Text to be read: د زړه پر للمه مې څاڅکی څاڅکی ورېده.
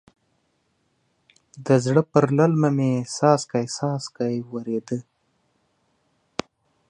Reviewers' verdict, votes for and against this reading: accepted, 2, 1